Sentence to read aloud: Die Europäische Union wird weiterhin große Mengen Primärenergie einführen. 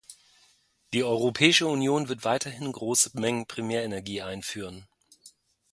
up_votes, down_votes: 3, 0